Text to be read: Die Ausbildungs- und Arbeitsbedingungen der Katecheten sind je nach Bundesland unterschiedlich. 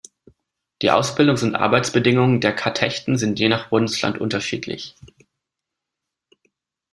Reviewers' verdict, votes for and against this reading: rejected, 1, 2